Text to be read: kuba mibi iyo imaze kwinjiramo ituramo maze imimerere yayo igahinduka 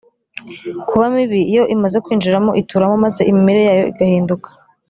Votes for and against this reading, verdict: 2, 0, accepted